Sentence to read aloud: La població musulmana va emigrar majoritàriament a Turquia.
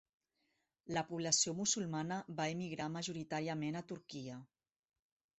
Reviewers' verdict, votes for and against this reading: accepted, 4, 0